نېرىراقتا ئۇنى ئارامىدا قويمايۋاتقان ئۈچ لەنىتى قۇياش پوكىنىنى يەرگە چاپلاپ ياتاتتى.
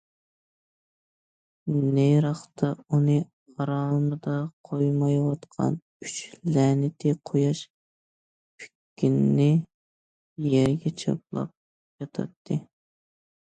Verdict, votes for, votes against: rejected, 0, 2